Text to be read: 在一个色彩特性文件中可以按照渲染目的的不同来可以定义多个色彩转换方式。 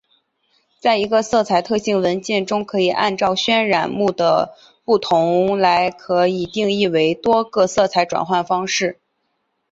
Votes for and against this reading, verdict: 3, 0, accepted